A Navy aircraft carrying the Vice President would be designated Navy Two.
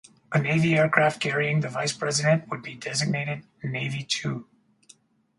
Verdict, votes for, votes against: accepted, 4, 0